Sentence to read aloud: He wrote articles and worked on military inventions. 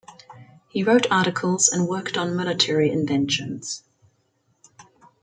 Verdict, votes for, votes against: rejected, 1, 2